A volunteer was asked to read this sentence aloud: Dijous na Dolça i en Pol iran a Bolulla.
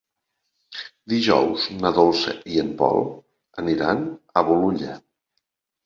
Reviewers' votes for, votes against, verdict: 0, 2, rejected